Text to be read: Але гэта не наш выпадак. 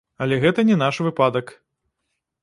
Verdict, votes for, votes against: rejected, 0, 2